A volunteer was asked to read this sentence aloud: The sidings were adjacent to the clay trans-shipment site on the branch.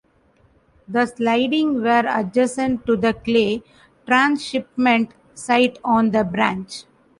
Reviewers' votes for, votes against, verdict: 1, 3, rejected